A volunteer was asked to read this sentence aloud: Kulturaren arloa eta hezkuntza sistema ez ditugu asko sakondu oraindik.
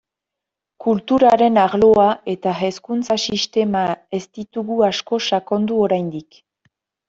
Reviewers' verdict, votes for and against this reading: accepted, 2, 0